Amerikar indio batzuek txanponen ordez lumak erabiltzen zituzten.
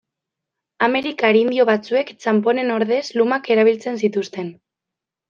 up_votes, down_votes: 2, 0